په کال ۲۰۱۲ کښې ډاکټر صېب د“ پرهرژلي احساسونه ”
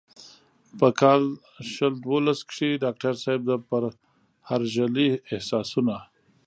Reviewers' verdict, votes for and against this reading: rejected, 0, 2